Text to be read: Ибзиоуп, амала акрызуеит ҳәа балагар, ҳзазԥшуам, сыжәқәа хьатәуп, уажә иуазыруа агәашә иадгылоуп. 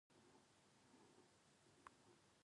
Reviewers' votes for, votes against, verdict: 0, 2, rejected